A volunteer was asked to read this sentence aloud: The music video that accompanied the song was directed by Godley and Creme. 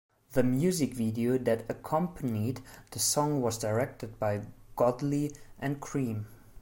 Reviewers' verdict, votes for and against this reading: rejected, 1, 2